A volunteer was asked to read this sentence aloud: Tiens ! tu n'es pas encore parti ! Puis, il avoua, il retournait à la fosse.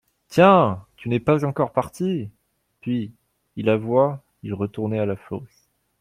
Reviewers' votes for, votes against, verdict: 1, 2, rejected